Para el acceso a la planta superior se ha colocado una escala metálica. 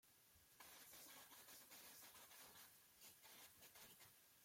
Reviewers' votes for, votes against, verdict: 0, 2, rejected